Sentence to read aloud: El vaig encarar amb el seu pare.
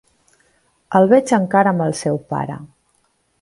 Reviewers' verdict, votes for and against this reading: rejected, 1, 2